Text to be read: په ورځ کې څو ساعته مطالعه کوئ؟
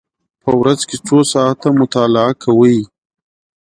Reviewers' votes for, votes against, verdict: 2, 0, accepted